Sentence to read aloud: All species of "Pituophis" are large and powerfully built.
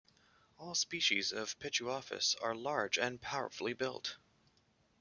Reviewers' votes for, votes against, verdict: 2, 1, accepted